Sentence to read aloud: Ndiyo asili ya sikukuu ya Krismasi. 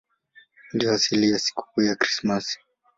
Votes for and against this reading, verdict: 3, 1, accepted